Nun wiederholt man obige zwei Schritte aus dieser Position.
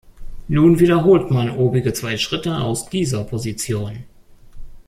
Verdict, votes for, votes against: rejected, 1, 2